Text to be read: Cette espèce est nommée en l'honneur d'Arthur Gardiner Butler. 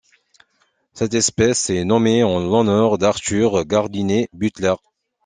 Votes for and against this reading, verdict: 2, 0, accepted